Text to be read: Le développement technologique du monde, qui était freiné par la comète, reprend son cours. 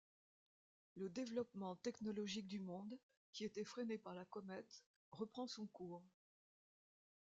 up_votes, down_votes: 0, 2